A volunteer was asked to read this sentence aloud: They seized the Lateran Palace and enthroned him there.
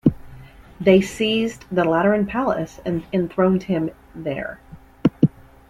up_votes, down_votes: 2, 0